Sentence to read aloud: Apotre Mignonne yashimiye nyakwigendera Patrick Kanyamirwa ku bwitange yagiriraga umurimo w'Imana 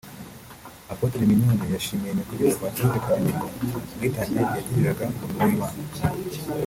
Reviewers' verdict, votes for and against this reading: accepted, 3, 1